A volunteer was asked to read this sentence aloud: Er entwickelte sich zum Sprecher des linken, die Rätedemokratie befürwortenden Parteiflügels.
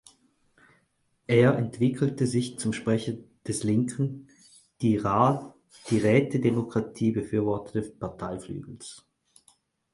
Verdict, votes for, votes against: rejected, 0, 4